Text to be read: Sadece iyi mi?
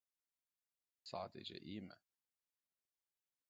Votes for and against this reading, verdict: 0, 2, rejected